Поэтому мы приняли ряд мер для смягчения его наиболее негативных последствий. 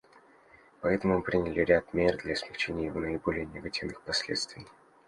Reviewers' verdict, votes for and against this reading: accepted, 2, 0